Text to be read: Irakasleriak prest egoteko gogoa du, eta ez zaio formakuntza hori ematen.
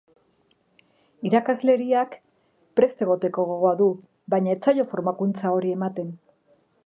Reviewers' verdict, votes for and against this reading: rejected, 1, 2